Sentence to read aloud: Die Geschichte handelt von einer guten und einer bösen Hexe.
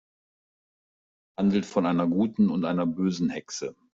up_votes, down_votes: 0, 2